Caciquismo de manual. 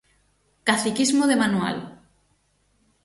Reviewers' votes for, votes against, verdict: 6, 0, accepted